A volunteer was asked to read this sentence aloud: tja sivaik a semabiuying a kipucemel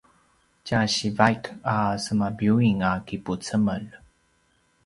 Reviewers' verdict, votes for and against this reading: accepted, 2, 0